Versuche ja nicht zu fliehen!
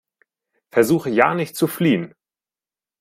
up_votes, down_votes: 4, 0